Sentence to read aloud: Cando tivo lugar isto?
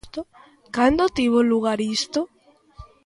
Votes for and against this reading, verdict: 1, 2, rejected